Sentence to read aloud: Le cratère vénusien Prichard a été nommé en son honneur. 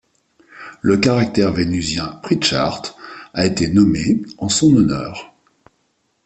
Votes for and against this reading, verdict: 1, 2, rejected